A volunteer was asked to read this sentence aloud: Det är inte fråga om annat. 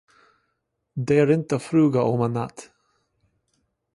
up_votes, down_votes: 0, 2